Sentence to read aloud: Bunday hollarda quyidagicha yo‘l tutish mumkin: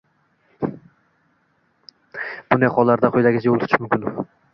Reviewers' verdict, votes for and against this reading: rejected, 0, 2